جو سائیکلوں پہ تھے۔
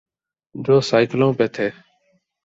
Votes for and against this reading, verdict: 3, 0, accepted